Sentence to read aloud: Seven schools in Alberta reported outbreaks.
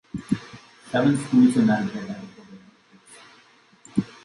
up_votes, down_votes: 0, 2